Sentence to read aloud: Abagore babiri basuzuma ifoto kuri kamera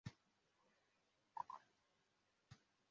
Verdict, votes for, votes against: rejected, 0, 2